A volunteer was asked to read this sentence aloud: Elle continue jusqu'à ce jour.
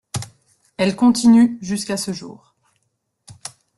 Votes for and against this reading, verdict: 2, 0, accepted